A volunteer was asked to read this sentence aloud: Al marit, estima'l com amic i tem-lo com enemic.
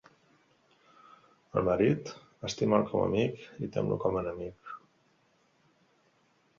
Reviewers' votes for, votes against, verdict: 2, 0, accepted